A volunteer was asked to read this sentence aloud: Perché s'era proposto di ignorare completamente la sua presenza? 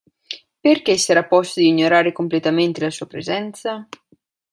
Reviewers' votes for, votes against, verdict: 0, 2, rejected